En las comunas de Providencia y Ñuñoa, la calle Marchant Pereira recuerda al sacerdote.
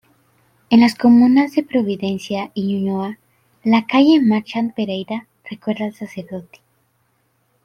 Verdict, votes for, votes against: accepted, 2, 0